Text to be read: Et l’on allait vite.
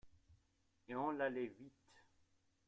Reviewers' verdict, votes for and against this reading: rejected, 0, 2